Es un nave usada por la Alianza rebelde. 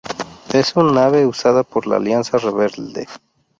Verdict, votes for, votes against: rejected, 0, 2